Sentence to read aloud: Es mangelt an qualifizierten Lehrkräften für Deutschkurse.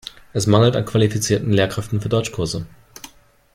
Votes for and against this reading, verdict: 2, 0, accepted